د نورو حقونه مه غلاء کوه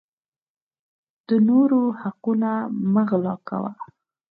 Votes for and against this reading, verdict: 4, 0, accepted